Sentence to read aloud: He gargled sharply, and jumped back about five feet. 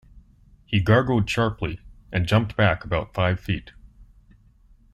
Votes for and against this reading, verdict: 2, 0, accepted